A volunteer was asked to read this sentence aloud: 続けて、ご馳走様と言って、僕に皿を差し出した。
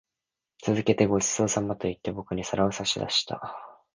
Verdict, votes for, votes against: accepted, 2, 0